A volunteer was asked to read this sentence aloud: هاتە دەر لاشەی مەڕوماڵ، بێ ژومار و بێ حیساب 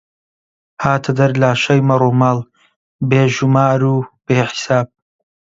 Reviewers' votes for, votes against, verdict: 2, 0, accepted